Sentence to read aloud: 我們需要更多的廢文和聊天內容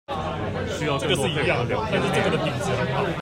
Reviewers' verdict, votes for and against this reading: rejected, 0, 2